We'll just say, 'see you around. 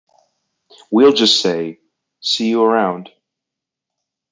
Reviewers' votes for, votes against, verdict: 2, 0, accepted